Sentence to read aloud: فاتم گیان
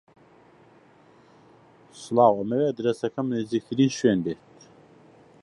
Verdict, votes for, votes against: rejected, 0, 2